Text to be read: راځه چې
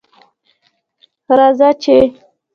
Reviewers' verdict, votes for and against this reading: accepted, 2, 1